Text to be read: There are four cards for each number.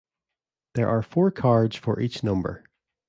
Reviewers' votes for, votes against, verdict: 2, 0, accepted